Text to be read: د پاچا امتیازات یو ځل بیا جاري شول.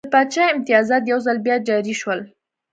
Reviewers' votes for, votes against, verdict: 2, 0, accepted